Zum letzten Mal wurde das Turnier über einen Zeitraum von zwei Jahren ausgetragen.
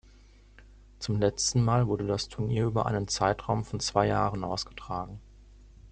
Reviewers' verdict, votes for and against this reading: accepted, 2, 0